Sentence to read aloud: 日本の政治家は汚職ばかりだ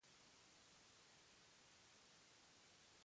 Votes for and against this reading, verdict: 0, 2, rejected